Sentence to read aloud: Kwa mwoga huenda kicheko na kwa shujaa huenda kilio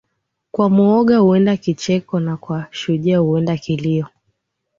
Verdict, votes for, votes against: accepted, 2, 0